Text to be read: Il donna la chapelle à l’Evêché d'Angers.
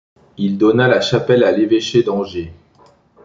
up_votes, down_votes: 2, 0